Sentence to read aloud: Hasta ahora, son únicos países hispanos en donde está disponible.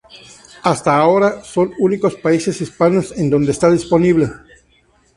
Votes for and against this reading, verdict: 2, 0, accepted